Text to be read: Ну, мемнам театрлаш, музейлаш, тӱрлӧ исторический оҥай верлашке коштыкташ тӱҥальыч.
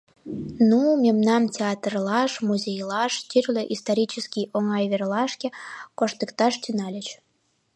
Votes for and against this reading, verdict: 2, 0, accepted